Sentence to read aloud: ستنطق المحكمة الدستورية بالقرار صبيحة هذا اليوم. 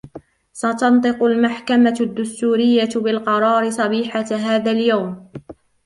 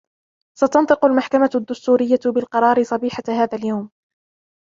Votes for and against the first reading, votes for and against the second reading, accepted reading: 1, 2, 2, 0, second